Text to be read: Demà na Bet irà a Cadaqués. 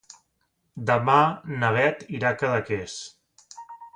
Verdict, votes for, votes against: accepted, 2, 0